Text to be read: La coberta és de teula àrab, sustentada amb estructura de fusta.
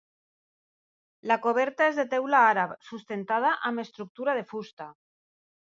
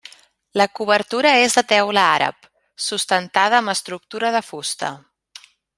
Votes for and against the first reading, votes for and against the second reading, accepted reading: 2, 0, 0, 2, first